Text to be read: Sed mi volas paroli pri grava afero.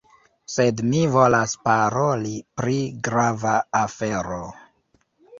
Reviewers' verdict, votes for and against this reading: rejected, 0, 2